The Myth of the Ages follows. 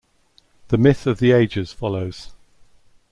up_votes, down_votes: 2, 0